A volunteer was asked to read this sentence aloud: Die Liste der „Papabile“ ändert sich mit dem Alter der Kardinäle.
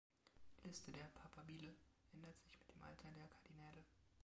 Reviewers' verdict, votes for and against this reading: rejected, 1, 2